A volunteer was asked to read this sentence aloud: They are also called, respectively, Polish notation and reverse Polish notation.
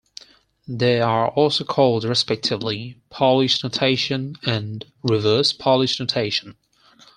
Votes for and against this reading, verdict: 6, 2, accepted